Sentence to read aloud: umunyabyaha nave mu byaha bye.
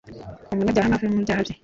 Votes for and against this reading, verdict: 1, 2, rejected